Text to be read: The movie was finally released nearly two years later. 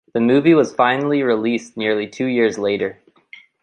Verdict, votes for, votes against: accepted, 2, 0